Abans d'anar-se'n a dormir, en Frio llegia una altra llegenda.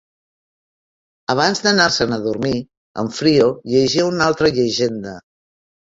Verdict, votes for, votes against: accepted, 4, 0